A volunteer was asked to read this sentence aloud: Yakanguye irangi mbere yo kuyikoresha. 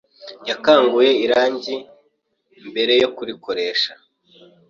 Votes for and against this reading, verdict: 1, 2, rejected